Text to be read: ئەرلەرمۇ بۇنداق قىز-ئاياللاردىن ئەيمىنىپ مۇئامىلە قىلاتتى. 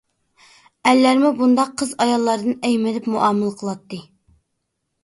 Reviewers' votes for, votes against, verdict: 2, 0, accepted